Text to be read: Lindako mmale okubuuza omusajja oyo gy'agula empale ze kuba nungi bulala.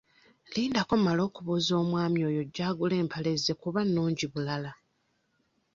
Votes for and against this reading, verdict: 1, 2, rejected